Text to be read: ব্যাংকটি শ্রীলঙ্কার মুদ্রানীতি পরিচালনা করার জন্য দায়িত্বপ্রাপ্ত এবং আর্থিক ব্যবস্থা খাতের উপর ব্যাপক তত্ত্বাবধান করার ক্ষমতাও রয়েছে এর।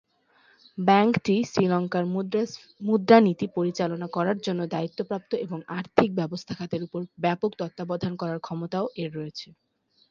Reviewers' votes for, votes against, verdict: 3, 4, rejected